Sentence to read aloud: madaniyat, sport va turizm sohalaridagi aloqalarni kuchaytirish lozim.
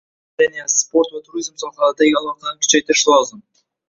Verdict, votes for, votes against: rejected, 1, 2